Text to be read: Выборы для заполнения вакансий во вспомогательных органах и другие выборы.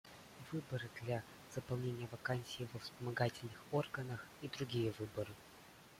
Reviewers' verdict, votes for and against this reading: rejected, 1, 2